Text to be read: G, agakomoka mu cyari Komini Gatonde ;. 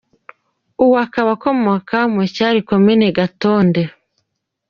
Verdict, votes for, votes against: accepted, 2, 1